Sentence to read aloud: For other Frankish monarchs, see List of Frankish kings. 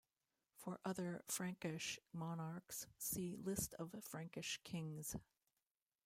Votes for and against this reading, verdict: 2, 0, accepted